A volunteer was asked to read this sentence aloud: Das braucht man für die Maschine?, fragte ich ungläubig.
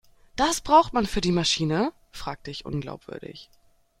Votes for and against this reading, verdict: 0, 2, rejected